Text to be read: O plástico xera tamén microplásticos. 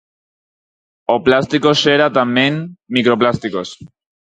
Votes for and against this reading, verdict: 4, 0, accepted